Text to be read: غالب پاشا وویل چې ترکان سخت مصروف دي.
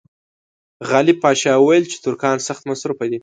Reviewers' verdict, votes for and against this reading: accepted, 2, 0